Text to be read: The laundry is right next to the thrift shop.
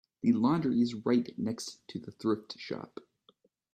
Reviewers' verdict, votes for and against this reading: accepted, 2, 0